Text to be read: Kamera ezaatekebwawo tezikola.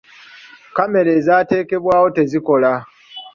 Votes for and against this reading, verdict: 2, 1, accepted